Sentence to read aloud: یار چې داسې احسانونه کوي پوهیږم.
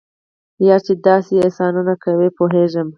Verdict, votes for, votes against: accepted, 4, 2